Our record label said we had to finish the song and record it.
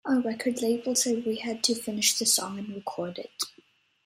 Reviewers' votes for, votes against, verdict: 2, 0, accepted